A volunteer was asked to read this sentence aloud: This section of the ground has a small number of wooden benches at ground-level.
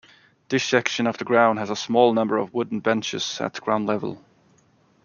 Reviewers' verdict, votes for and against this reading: accepted, 2, 0